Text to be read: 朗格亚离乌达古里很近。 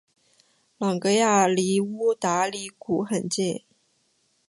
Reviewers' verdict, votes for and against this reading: rejected, 0, 2